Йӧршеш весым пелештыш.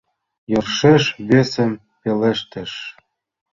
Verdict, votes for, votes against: accepted, 2, 0